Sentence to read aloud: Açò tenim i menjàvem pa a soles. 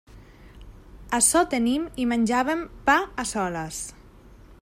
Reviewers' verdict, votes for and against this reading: rejected, 1, 2